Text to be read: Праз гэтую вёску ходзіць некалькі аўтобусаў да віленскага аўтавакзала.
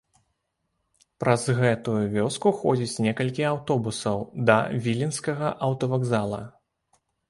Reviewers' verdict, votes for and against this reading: accepted, 2, 0